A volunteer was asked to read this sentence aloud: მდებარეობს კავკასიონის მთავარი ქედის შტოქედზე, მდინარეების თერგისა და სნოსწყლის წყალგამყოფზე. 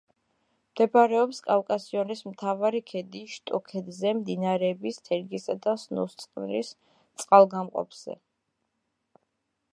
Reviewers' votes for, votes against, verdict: 2, 0, accepted